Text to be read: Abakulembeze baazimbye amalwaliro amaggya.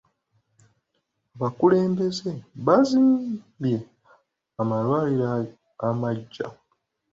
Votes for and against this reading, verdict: 2, 0, accepted